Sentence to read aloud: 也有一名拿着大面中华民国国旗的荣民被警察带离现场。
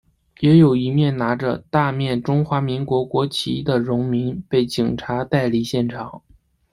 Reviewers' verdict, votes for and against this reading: rejected, 0, 2